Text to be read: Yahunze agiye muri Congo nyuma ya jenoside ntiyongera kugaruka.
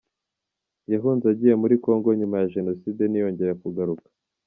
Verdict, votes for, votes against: accepted, 2, 0